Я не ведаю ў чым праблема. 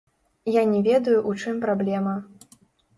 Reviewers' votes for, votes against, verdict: 0, 2, rejected